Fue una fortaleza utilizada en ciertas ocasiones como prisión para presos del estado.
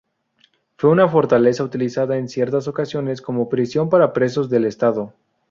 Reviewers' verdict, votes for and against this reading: accepted, 2, 0